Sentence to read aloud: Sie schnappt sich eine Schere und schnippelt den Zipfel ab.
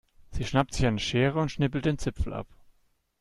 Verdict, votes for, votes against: accepted, 2, 0